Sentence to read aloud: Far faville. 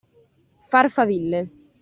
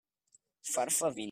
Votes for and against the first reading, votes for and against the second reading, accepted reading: 2, 0, 0, 2, first